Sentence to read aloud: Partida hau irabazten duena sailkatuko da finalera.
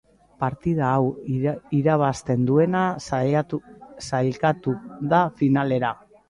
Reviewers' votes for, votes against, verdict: 0, 2, rejected